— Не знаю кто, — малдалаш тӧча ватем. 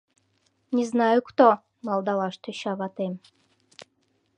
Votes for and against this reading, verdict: 2, 0, accepted